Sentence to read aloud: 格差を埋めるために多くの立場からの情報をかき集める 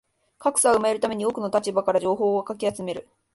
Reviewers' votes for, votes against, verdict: 0, 2, rejected